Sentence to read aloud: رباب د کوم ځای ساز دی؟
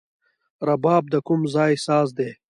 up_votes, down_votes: 2, 1